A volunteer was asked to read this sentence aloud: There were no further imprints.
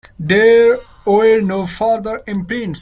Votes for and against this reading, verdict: 2, 1, accepted